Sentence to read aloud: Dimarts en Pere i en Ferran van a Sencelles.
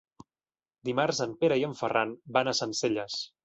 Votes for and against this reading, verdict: 2, 0, accepted